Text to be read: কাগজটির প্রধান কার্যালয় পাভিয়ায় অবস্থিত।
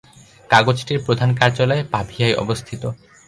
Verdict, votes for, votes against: accepted, 2, 0